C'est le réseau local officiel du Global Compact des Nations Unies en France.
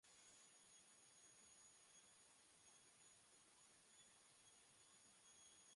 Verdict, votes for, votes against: rejected, 0, 2